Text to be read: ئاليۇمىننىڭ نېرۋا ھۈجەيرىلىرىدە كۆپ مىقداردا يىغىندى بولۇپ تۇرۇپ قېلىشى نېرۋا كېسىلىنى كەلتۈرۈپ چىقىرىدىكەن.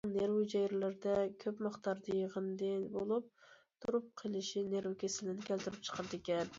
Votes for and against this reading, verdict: 0, 2, rejected